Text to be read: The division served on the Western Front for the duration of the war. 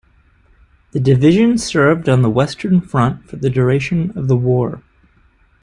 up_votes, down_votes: 3, 0